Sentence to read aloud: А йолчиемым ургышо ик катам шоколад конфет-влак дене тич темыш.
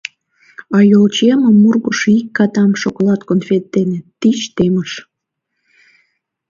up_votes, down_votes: 1, 2